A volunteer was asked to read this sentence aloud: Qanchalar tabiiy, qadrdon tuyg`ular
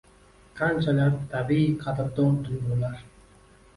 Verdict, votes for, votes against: accepted, 2, 0